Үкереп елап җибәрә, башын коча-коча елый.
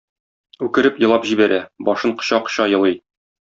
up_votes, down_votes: 2, 0